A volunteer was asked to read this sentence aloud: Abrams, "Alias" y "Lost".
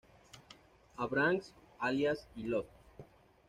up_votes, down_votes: 1, 2